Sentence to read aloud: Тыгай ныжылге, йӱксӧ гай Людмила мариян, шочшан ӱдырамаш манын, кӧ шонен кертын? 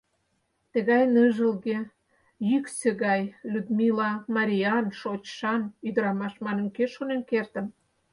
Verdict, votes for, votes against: accepted, 4, 0